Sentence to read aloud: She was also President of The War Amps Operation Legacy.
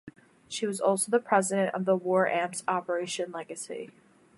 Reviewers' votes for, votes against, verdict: 1, 2, rejected